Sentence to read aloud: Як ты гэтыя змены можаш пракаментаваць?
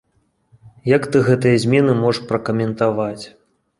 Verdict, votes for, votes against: accepted, 2, 0